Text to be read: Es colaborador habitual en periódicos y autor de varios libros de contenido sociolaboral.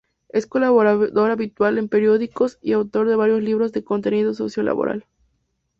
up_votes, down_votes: 2, 0